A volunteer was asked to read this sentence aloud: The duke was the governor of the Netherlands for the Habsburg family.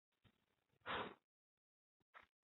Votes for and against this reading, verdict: 0, 2, rejected